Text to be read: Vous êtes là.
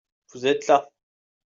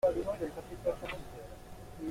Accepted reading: first